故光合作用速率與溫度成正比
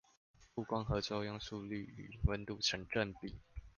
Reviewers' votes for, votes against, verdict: 0, 2, rejected